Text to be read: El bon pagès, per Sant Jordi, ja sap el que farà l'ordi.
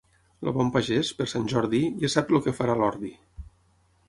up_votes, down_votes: 3, 6